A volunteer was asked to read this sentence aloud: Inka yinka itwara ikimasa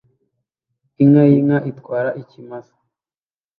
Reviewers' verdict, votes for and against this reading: accepted, 2, 0